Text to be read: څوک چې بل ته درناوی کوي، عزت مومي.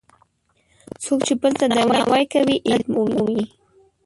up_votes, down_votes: 1, 2